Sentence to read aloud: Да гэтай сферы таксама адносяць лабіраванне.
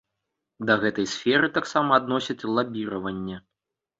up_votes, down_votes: 2, 0